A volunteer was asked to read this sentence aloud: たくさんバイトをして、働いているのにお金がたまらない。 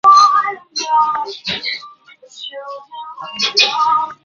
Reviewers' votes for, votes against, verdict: 0, 2, rejected